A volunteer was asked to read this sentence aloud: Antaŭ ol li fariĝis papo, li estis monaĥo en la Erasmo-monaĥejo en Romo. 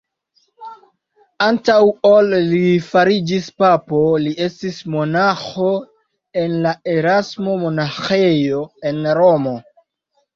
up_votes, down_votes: 2, 0